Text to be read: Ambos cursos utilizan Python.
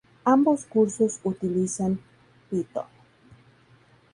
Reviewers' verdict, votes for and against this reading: accepted, 2, 0